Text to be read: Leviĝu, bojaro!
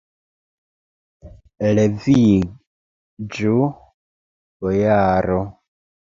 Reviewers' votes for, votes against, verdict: 1, 2, rejected